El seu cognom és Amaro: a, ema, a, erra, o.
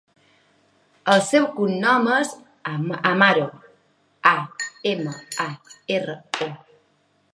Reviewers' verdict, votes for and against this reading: rejected, 1, 2